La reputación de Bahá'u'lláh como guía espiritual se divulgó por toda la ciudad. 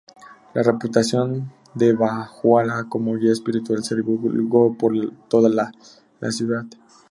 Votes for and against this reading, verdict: 0, 2, rejected